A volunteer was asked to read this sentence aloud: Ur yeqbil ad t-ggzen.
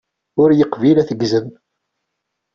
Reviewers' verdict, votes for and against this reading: accepted, 2, 0